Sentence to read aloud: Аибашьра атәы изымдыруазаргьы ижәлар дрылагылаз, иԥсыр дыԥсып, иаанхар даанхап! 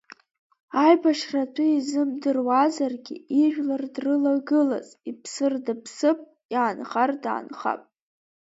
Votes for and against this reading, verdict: 1, 2, rejected